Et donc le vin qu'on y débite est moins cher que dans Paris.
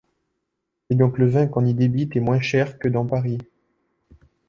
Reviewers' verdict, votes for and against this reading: rejected, 0, 2